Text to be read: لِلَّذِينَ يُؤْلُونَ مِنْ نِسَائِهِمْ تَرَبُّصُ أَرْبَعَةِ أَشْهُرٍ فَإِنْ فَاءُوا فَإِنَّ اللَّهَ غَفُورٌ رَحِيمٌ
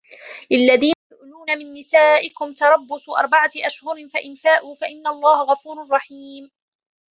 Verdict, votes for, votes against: rejected, 1, 2